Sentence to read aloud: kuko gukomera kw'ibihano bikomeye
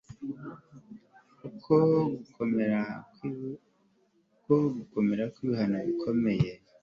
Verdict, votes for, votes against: rejected, 0, 2